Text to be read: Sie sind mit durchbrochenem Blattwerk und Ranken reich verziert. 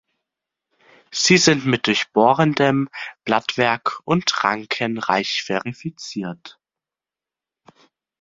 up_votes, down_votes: 0, 2